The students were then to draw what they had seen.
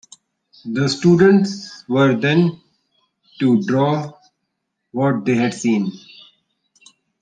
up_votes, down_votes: 2, 0